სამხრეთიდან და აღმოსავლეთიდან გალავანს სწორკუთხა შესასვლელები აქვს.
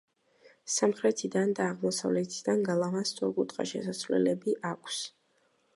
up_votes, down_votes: 1, 2